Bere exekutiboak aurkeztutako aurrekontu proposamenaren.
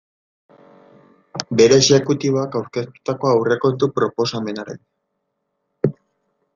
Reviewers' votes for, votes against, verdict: 0, 2, rejected